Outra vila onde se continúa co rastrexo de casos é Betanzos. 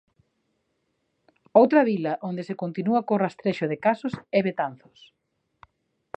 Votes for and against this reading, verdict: 3, 0, accepted